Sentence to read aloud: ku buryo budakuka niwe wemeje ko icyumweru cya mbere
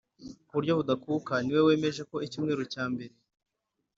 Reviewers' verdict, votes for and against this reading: accepted, 2, 0